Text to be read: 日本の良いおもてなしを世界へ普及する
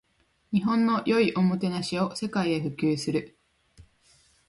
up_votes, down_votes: 3, 0